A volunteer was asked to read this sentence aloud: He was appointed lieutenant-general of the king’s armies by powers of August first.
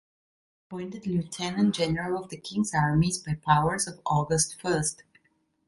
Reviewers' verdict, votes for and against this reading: rejected, 1, 3